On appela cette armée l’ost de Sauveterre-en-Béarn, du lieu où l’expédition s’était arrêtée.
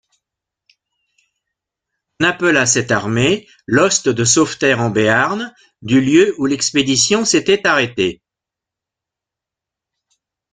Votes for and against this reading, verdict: 0, 2, rejected